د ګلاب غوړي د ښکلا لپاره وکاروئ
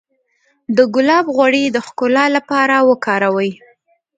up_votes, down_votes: 1, 2